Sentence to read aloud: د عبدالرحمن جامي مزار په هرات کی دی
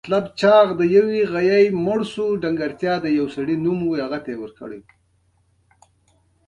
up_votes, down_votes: 1, 2